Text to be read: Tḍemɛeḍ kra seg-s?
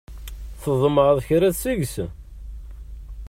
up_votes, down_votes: 2, 0